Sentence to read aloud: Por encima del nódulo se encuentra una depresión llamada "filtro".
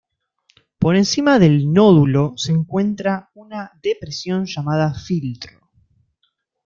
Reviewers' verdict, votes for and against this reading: accepted, 2, 0